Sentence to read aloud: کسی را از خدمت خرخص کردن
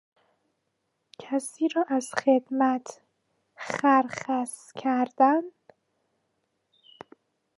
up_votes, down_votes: 0, 2